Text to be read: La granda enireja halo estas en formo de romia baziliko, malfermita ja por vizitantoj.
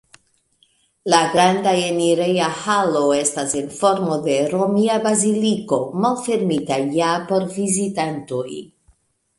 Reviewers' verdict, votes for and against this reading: accepted, 2, 0